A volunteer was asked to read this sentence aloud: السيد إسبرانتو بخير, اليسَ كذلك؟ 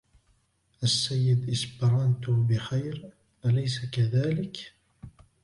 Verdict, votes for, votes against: accepted, 3, 2